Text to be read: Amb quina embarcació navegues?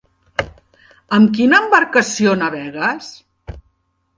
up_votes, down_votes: 3, 0